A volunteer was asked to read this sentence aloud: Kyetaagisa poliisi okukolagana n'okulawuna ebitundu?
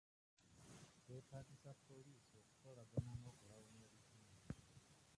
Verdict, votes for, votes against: rejected, 0, 2